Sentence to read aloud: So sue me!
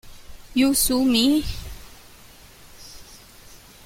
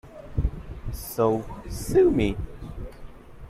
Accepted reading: second